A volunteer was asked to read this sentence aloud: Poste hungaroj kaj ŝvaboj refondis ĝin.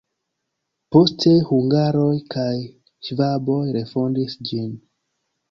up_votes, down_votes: 2, 1